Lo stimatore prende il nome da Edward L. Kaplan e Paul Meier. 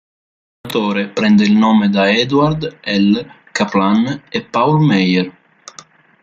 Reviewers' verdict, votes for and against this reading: rejected, 0, 2